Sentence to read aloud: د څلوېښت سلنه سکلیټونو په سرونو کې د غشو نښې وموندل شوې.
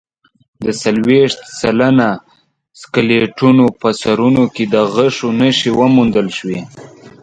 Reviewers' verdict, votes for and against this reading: accepted, 2, 0